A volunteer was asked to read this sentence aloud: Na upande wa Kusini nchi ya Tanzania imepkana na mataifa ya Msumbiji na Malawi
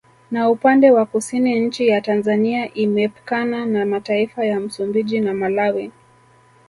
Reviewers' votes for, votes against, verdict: 2, 0, accepted